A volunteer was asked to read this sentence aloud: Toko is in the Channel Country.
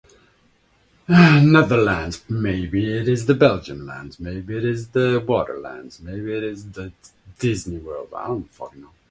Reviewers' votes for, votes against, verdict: 0, 2, rejected